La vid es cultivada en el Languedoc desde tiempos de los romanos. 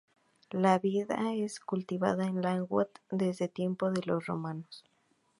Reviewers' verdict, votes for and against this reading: rejected, 0, 2